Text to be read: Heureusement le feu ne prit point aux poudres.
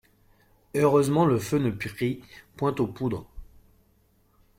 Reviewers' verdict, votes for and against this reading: rejected, 0, 2